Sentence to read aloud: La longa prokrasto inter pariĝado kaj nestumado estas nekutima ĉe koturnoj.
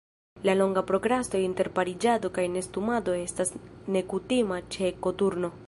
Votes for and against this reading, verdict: 2, 0, accepted